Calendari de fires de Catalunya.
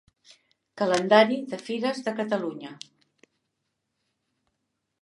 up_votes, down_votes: 2, 0